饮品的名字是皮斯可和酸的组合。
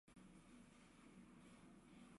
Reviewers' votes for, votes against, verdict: 0, 4, rejected